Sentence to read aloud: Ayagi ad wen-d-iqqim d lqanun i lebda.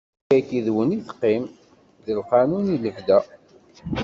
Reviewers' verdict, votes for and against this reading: rejected, 0, 2